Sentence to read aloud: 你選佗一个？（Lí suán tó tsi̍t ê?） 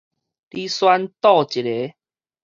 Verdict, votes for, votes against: rejected, 2, 2